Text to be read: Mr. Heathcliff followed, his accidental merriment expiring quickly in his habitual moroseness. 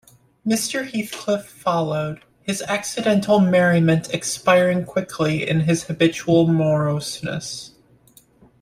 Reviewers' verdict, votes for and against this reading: accepted, 3, 0